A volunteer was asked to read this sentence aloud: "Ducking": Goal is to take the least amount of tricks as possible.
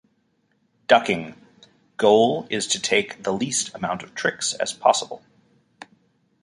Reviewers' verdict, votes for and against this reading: accepted, 2, 0